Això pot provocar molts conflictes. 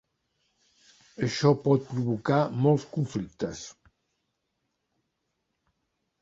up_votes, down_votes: 3, 1